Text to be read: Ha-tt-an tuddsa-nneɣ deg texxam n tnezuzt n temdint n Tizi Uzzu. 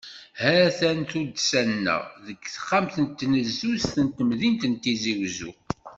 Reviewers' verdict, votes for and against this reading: rejected, 0, 2